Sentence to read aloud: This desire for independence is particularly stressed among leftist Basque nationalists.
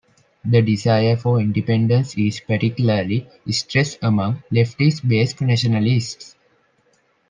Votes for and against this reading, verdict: 0, 2, rejected